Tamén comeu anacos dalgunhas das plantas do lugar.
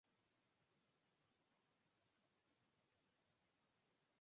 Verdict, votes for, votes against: rejected, 0, 4